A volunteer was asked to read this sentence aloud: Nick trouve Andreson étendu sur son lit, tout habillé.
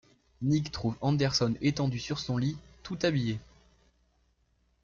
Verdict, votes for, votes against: rejected, 1, 2